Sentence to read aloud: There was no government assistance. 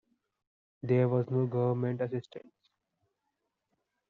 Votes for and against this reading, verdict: 2, 0, accepted